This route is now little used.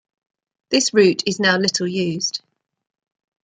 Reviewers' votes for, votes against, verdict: 2, 0, accepted